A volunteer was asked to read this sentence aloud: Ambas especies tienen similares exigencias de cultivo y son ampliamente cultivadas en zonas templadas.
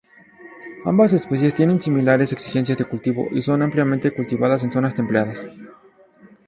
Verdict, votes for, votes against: rejected, 2, 4